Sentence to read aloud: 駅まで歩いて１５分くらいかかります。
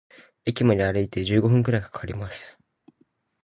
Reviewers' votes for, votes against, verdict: 0, 2, rejected